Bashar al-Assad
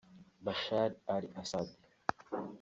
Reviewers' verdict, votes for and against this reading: rejected, 1, 2